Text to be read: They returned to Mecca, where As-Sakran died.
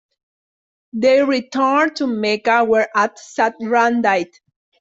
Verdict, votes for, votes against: accepted, 2, 0